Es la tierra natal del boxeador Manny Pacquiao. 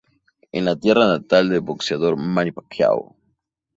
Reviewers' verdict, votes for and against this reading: accepted, 2, 0